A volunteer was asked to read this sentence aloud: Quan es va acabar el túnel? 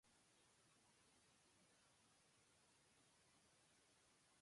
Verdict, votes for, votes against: rejected, 0, 3